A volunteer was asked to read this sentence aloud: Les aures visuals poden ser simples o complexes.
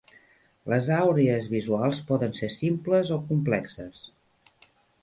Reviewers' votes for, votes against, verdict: 0, 2, rejected